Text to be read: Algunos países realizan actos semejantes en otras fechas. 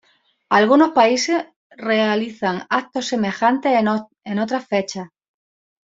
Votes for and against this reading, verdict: 1, 2, rejected